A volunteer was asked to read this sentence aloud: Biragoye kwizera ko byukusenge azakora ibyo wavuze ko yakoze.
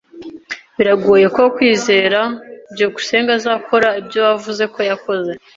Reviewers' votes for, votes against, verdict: 1, 2, rejected